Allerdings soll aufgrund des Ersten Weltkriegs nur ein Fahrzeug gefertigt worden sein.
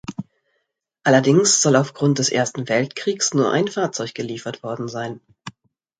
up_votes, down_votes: 0, 2